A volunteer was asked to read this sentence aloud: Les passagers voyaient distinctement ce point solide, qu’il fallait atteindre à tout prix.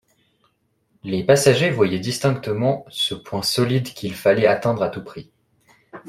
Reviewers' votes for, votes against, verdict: 2, 0, accepted